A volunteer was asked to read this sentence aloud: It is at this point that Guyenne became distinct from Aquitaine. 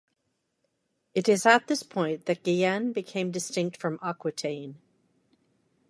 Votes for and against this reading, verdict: 2, 0, accepted